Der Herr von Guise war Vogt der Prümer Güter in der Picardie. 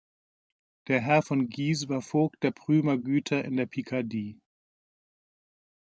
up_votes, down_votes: 2, 0